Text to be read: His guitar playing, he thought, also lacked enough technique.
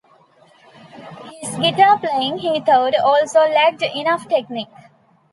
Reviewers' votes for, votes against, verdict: 2, 0, accepted